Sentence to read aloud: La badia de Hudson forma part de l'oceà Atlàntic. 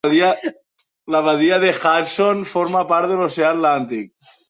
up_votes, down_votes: 2, 1